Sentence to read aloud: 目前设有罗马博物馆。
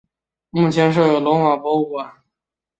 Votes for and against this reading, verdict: 6, 0, accepted